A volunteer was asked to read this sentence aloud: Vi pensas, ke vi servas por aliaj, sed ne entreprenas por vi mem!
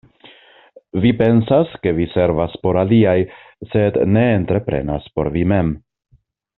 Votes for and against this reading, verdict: 2, 0, accepted